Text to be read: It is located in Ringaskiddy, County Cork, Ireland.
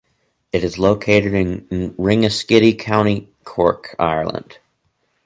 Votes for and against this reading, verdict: 2, 4, rejected